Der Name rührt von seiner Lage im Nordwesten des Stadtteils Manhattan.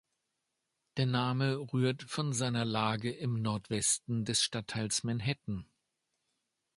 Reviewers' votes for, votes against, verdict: 2, 0, accepted